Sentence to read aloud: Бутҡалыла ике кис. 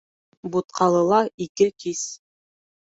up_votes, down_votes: 2, 0